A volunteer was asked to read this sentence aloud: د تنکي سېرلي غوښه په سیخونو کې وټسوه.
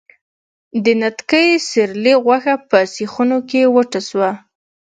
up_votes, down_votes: 0, 2